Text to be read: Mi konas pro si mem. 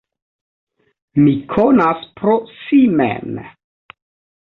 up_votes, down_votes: 2, 0